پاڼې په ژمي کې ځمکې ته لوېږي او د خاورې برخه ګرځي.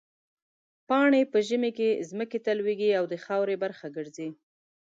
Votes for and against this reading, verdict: 2, 0, accepted